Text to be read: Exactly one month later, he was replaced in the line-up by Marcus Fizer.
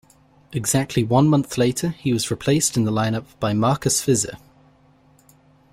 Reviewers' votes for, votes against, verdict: 2, 0, accepted